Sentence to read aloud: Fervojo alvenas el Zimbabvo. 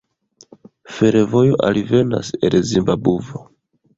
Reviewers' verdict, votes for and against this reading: rejected, 1, 2